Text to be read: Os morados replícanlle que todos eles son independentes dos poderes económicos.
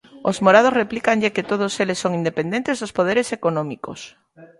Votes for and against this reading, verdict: 2, 0, accepted